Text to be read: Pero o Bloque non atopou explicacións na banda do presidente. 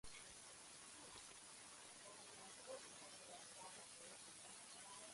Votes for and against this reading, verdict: 0, 2, rejected